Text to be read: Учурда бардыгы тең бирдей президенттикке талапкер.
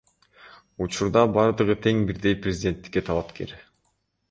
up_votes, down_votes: 2, 1